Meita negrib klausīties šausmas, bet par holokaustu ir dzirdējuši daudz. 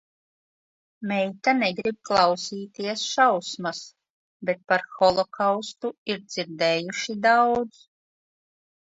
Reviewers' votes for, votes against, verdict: 2, 1, accepted